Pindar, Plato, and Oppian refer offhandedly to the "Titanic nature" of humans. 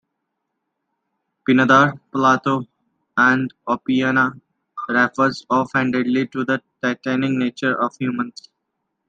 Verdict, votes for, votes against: accepted, 2, 0